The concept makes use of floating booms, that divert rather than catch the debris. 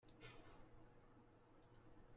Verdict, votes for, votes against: rejected, 0, 2